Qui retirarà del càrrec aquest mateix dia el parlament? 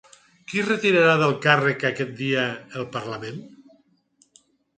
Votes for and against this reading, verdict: 0, 4, rejected